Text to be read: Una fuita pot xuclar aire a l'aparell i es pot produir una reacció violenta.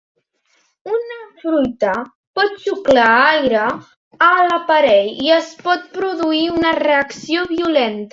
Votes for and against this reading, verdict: 1, 2, rejected